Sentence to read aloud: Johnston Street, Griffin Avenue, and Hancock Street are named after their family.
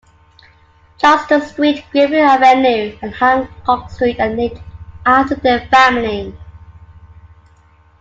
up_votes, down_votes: 1, 2